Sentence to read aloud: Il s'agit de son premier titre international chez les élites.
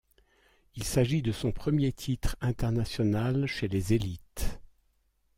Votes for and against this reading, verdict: 2, 0, accepted